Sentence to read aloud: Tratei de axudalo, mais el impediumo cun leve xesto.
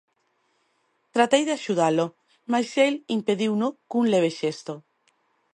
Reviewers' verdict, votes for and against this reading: rejected, 0, 2